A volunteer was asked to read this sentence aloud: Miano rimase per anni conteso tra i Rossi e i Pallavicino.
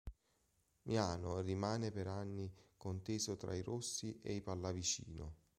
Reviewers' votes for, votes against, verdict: 0, 2, rejected